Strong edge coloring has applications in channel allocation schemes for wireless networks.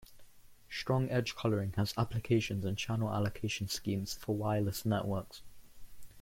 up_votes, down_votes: 1, 2